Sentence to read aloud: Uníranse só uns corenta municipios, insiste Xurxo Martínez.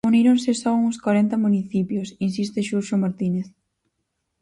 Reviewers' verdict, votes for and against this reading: rejected, 0, 4